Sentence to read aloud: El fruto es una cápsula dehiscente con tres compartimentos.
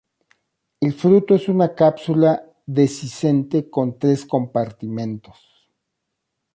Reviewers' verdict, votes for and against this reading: rejected, 1, 2